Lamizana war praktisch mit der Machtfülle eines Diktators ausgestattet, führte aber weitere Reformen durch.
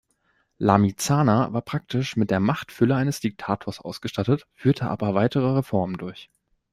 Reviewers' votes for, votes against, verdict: 2, 0, accepted